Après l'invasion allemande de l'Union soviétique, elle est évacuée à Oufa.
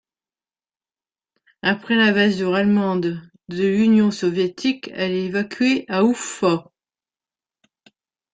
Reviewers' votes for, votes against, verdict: 2, 3, rejected